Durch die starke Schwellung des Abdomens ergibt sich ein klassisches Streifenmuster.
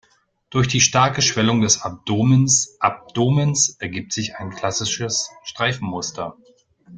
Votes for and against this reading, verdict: 0, 2, rejected